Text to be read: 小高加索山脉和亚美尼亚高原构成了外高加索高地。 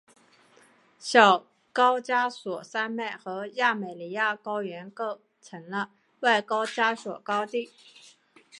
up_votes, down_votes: 2, 1